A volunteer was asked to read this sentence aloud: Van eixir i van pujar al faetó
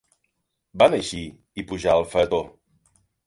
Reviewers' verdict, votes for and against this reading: rejected, 1, 3